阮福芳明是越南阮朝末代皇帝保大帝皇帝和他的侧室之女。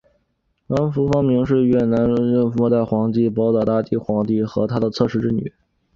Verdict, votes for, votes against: rejected, 0, 2